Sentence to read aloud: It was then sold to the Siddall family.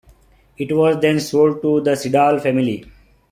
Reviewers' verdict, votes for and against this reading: accepted, 2, 0